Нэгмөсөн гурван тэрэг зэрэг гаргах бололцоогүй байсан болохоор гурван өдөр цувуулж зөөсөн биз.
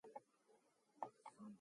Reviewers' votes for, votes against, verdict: 2, 2, rejected